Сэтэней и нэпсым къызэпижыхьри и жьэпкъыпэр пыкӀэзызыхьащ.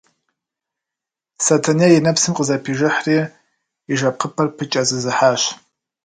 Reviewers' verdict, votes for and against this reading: rejected, 1, 2